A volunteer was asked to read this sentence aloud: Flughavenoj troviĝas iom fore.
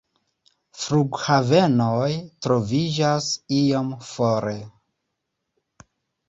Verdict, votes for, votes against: accepted, 2, 0